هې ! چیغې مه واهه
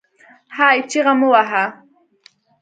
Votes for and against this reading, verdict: 2, 0, accepted